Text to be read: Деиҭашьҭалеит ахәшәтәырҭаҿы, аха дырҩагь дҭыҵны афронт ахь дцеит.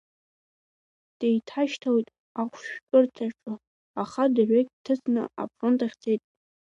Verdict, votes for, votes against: accepted, 2, 1